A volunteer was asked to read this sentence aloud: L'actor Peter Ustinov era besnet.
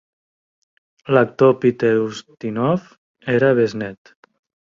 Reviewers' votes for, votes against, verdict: 2, 0, accepted